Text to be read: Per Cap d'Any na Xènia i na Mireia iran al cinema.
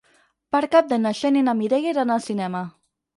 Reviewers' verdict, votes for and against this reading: rejected, 2, 4